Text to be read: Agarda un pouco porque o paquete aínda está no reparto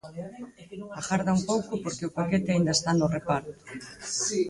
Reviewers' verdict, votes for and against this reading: rejected, 2, 4